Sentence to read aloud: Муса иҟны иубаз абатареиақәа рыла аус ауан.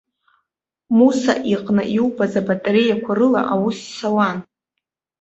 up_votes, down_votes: 1, 2